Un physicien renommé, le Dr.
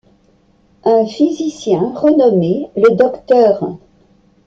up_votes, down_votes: 2, 1